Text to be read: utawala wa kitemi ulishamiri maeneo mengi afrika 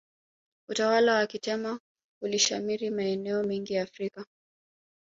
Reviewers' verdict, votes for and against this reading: rejected, 1, 2